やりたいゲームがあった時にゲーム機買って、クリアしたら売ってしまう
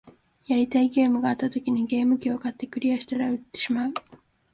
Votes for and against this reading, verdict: 1, 2, rejected